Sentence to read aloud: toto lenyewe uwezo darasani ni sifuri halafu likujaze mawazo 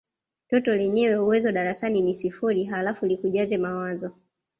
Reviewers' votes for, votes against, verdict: 0, 2, rejected